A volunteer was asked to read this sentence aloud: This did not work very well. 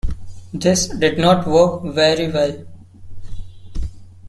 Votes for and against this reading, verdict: 0, 2, rejected